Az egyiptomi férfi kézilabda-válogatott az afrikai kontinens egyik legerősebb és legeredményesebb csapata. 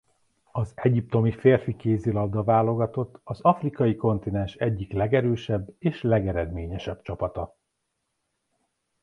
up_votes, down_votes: 2, 0